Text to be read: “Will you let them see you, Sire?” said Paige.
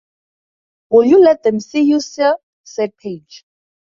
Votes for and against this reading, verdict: 4, 0, accepted